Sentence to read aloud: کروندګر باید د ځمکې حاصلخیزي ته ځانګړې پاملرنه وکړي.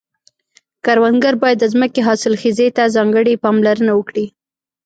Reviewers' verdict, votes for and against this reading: rejected, 0, 3